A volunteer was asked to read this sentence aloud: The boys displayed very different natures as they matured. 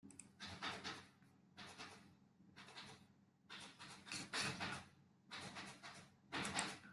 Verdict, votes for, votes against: rejected, 0, 2